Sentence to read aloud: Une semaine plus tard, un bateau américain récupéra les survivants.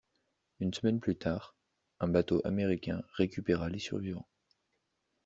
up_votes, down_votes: 2, 0